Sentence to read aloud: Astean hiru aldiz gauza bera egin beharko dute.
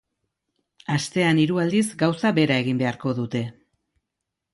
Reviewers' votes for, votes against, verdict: 2, 0, accepted